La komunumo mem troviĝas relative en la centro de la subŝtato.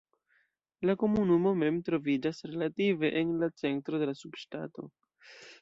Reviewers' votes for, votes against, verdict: 1, 2, rejected